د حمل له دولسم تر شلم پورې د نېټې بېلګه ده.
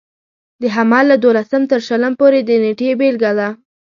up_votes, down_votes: 2, 0